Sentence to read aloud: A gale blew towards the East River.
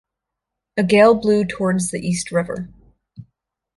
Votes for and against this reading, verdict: 2, 0, accepted